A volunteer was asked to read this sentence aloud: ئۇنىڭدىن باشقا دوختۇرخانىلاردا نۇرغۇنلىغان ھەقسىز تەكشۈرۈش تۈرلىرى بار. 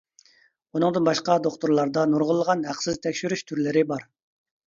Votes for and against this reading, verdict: 0, 2, rejected